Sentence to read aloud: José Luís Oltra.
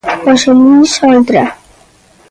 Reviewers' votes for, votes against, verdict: 2, 0, accepted